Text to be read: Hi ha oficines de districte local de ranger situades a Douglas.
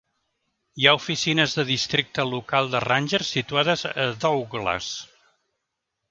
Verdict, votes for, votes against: rejected, 0, 2